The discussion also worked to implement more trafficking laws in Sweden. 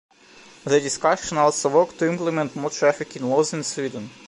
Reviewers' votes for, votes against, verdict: 2, 0, accepted